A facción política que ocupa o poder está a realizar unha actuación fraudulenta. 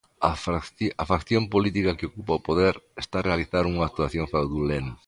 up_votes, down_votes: 0, 2